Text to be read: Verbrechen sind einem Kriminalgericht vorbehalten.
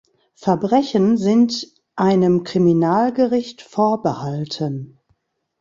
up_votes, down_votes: 2, 0